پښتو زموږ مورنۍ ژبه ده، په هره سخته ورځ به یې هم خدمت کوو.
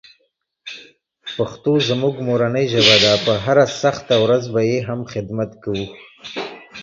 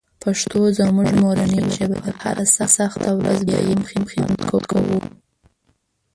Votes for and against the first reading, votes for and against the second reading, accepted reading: 2, 0, 1, 2, first